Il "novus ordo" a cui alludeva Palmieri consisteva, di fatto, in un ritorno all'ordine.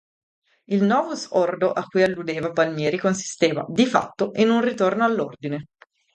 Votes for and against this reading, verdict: 2, 0, accepted